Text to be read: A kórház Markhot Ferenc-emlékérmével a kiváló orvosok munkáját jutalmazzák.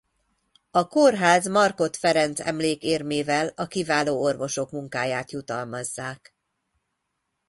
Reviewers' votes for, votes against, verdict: 2, 0, accepted